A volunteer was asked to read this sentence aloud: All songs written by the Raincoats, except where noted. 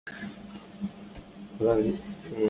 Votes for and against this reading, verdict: 0, 2, rejected